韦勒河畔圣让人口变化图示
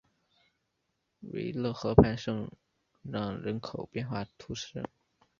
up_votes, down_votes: 1, 2